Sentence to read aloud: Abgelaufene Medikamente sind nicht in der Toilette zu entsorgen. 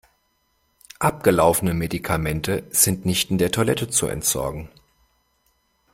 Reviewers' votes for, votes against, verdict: 2, 0, accepted